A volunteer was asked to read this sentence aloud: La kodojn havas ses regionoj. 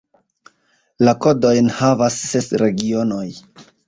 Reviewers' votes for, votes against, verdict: 0, 2, rejected